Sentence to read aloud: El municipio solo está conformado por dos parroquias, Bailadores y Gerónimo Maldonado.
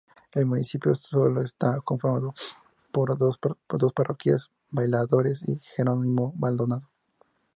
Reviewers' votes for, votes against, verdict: 2, 0, accepted